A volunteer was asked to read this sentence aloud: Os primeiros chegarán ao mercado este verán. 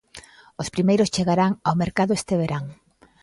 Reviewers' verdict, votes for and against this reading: accepted, 2, 0